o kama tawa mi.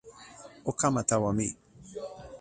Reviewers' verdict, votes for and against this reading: rejected, 1, 2